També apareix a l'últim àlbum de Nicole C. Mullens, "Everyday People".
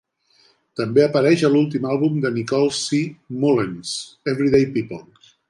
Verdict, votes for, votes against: accepted, 2, 0